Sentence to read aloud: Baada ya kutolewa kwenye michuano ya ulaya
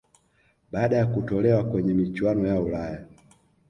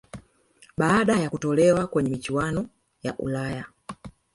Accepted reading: first